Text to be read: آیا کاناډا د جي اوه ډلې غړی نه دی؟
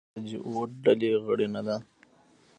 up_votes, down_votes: 0, 2